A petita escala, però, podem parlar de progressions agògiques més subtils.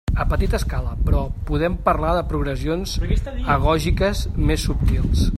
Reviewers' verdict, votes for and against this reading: rejected, 2, 3